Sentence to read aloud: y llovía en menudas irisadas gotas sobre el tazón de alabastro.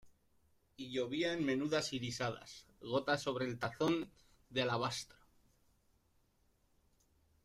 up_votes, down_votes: 2, 1